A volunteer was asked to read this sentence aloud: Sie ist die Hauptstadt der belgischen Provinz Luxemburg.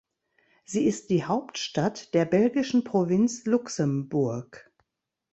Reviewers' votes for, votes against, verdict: 2, 0, accepted